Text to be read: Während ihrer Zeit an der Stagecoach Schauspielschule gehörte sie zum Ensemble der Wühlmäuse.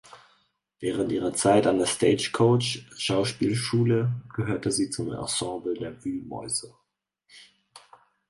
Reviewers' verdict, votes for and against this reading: accepted, 4, 0